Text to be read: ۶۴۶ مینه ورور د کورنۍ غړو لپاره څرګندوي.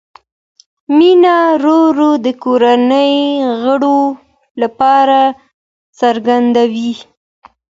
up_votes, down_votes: 0, 2